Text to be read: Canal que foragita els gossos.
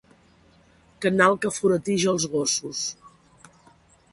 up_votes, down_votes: 2, 3